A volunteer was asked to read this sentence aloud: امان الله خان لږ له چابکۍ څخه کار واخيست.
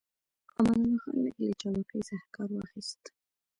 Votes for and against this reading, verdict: 2, 0, accepted